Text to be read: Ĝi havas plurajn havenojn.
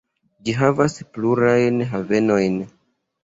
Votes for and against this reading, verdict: 2, 0, accepted